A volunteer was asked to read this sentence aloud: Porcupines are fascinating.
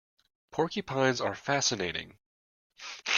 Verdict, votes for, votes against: accepted, 2, 0